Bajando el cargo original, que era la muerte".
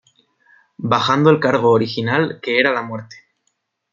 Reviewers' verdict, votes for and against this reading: accepted, 2, 0